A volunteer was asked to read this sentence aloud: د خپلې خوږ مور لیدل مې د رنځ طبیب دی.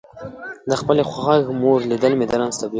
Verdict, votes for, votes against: rejected, 0, 2